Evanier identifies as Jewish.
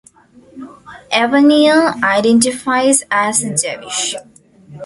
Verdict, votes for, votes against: accepted, 2, 0